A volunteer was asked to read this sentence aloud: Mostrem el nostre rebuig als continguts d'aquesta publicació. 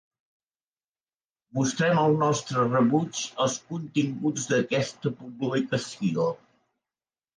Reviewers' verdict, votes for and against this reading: accepted, 5, 0